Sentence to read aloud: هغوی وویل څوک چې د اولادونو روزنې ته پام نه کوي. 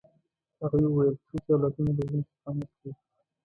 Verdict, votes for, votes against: rejected, 1, 2